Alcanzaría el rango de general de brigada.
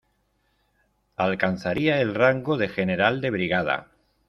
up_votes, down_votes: 2, 0